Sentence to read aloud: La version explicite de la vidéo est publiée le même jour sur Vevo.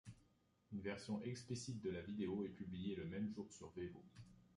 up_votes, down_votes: 0, 2